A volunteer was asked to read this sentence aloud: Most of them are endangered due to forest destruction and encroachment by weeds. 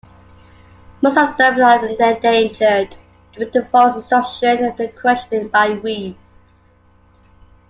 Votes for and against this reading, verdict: 1, 2, rejected